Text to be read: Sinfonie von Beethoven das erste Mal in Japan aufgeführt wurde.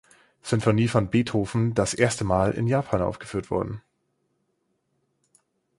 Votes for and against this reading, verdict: 2, 4, rejected